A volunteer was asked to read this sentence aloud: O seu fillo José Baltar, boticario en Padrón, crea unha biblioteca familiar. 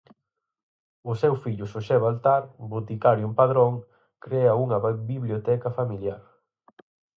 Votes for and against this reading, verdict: 0, 4, rejected